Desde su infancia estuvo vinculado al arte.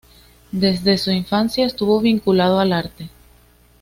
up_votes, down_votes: 2, 0